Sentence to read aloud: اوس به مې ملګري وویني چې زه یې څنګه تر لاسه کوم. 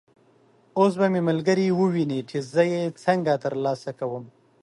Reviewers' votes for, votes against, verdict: 2, 0, accepted